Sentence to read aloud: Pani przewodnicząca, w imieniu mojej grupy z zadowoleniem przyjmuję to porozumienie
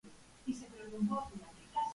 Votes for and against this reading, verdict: 0, 2, rejected